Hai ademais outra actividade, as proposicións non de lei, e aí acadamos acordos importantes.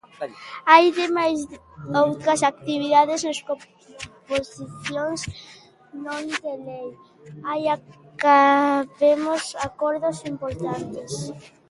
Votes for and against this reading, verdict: 0, 2, rejected